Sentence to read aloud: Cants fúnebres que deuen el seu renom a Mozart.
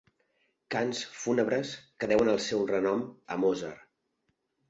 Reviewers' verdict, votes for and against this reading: accepted, 2, 0